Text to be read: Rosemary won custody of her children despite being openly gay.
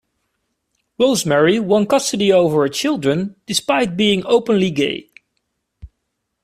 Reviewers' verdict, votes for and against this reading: rejected, 0, 2